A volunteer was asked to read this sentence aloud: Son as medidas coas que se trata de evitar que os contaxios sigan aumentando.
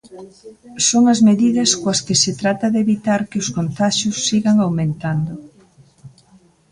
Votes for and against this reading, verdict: 2, 0, accepted